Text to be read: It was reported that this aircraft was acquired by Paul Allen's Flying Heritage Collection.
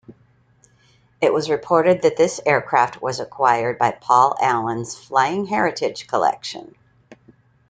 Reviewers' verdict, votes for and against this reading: accepted, 2, 0